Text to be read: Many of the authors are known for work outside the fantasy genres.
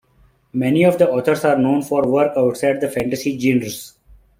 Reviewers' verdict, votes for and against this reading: accepted, 2, 0